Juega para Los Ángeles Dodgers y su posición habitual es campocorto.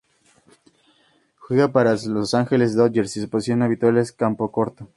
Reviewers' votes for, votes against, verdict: 2, 0, accepted